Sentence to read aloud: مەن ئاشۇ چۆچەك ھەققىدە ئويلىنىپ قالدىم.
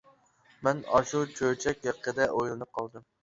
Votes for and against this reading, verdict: 2, 0, accepted